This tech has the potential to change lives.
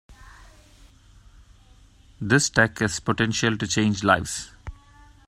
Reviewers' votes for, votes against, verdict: 0, 2, rejected